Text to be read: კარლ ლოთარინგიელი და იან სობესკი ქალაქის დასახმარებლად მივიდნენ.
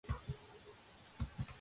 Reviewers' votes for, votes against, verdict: 0, 2, rejected